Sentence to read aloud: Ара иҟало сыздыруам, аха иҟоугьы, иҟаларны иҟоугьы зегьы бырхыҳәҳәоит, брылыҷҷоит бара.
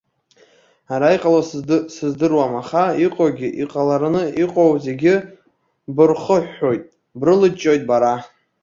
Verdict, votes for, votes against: rejected, 0, 2